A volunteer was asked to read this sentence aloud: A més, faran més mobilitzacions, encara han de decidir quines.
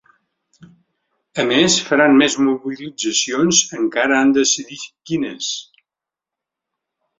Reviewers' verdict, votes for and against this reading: rejected, 1, 2